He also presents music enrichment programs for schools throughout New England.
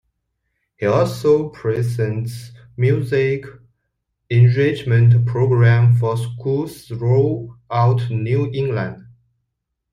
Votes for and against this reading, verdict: 0, 2, rejected